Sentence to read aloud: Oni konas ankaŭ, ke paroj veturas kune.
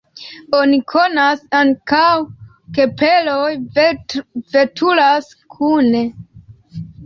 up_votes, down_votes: 1, 2